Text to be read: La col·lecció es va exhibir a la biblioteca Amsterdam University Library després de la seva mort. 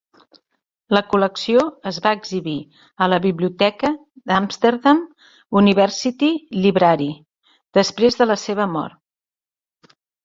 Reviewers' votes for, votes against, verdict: 0, 2, rejected